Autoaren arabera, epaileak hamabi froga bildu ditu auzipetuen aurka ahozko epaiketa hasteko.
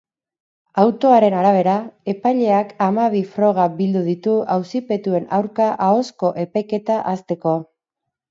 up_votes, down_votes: 4, 0